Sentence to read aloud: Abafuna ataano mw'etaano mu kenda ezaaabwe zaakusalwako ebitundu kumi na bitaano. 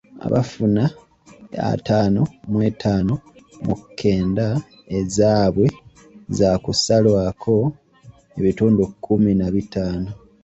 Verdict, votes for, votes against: accepted, 2, 1